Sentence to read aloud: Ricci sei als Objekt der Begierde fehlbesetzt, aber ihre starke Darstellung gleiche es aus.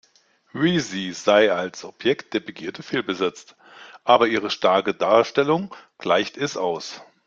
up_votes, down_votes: 0, 2